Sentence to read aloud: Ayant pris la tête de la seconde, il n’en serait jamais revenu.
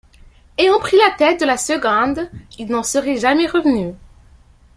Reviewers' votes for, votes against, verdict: 1, 2, rejected